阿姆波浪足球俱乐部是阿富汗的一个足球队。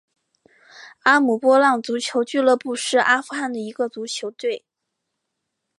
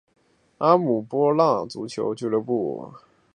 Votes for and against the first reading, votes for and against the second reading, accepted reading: 3, 0, 1, 6, first